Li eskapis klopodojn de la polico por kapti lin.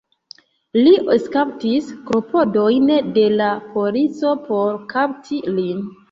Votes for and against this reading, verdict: 0, 2, rejected